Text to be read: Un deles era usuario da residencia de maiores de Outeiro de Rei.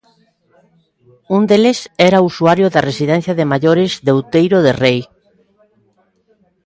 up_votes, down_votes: 2, 0